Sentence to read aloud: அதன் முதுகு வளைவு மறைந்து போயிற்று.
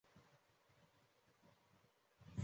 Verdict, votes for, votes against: rejected, 0, 2